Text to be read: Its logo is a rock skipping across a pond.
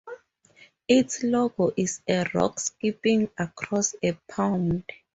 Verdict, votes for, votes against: accepted, 2, 0